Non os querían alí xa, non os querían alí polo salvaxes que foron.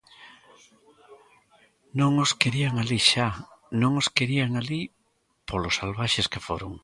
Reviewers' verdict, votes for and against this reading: accepted, 2, 1